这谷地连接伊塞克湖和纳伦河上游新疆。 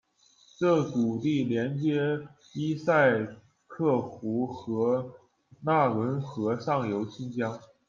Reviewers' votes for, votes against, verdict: 2, 0, accepted